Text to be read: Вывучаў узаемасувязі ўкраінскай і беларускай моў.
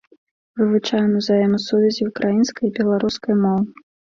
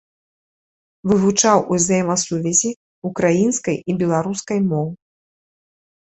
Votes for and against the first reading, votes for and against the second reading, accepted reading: 0, 2, 4, 0, second